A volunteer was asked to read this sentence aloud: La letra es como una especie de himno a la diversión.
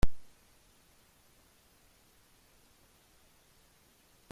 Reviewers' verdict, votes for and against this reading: rejected, 0, 2